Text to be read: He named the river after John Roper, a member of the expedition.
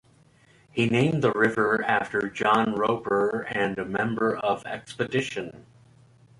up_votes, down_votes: 1, 2